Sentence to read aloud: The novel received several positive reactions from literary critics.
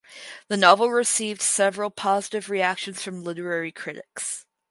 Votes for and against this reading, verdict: 4, 0, accepted